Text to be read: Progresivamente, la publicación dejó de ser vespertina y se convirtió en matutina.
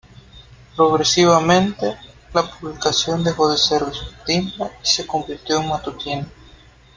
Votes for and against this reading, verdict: 1, 2, rejected